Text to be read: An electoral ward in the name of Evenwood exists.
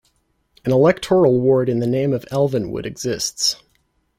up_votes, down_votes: 0, 2